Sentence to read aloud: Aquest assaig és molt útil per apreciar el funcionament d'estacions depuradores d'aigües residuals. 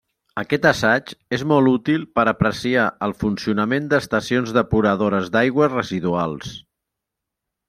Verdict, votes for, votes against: accepted, 2, 0